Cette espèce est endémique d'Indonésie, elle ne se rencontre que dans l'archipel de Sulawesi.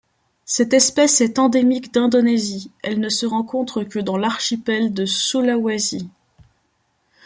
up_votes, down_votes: 2, 0